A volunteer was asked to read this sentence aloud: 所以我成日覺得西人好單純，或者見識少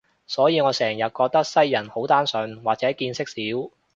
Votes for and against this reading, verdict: 2, 0, accepted